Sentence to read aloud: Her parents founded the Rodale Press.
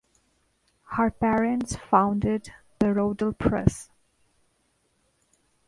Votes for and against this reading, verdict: 0, 2, rejected